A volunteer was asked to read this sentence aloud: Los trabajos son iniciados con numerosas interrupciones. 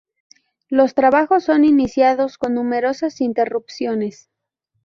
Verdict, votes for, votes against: accepted, 2, 0